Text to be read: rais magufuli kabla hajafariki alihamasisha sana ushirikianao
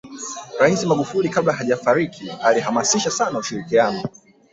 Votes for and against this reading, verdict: 0, 3, rejected